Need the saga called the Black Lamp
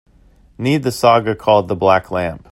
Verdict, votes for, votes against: accepted, 2, 0